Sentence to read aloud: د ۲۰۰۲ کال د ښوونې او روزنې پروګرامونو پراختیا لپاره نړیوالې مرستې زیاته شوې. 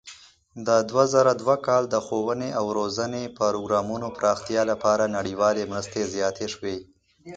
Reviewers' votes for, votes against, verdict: 0, 2, rejected